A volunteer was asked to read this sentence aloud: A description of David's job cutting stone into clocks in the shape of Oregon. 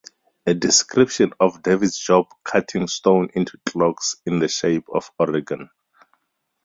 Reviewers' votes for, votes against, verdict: 4, 0, accepted